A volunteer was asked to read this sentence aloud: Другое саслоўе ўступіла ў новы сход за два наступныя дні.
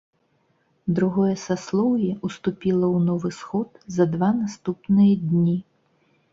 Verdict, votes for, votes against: accepted, 2, 0